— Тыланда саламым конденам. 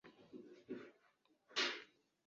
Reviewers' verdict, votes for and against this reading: rejected, 1, 3